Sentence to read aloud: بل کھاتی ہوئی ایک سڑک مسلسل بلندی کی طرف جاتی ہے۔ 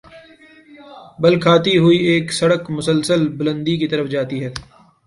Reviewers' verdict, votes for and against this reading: accepted, 2, 1